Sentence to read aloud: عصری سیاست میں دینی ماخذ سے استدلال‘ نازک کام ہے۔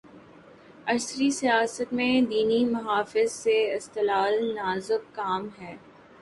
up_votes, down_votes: 1, 2